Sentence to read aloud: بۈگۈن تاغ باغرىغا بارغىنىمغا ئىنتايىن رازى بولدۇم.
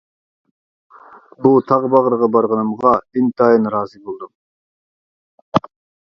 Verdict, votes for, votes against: rejected, 1, 2